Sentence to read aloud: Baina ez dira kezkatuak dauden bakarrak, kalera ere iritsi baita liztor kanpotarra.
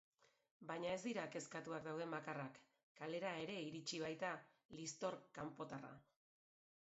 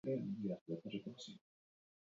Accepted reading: first